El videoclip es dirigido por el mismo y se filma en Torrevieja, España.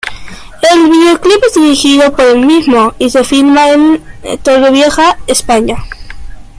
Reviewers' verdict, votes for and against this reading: accepted, 2, 0